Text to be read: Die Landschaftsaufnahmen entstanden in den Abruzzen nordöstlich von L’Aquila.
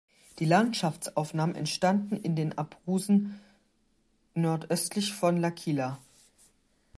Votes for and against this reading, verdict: 0, 4, rejected